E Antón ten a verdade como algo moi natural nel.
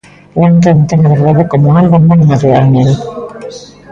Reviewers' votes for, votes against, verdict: 0, 2, rejected